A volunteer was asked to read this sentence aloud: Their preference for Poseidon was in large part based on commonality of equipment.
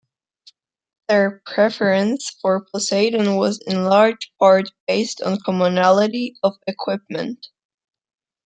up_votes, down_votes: 2, 0